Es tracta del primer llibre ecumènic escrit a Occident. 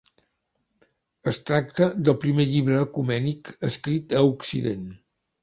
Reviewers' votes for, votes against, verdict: 2, 0, accepted